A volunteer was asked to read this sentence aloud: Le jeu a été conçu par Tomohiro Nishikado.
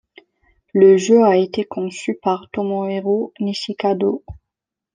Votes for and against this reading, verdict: 2, 0, accepted